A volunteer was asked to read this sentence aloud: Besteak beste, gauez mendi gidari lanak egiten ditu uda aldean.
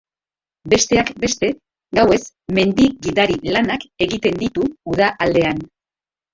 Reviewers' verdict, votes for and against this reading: accepted, 2, 1